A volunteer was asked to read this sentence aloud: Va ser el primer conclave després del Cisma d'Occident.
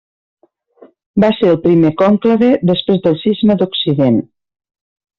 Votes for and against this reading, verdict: 1, 2, rejected